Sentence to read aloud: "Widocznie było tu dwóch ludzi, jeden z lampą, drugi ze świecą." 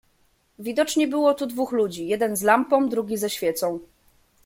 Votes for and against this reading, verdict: 2, 0, accepted